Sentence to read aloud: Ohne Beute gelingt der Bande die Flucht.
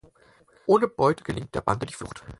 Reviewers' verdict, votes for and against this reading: rejected, 2, 4